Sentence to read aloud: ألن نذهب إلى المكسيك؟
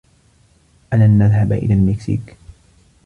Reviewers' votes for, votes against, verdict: 2, 0, accepted